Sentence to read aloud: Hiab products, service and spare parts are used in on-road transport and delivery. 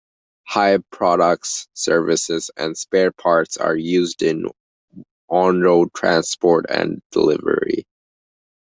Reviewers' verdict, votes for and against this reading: rejected, 1, 2